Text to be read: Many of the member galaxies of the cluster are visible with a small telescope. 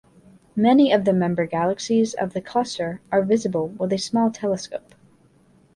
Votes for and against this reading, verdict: 2, 0, accepted